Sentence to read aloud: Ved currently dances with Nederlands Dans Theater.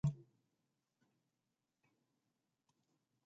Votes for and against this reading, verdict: 0, 2, rejected